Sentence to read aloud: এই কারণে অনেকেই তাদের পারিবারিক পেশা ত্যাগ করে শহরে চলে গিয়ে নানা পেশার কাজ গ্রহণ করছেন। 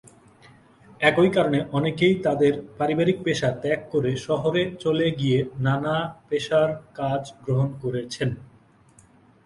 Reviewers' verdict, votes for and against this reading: rejected, 0, 2